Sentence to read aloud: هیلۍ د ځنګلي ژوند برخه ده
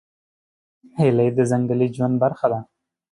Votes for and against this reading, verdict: 2, 0, accepted